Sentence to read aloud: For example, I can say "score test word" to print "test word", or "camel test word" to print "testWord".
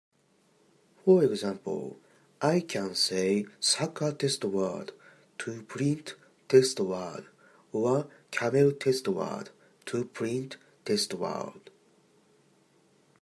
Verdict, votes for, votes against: rejected, 0, 3